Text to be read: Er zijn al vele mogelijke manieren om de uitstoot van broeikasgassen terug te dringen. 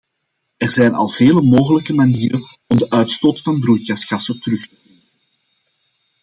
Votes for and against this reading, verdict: 0, 2, rejected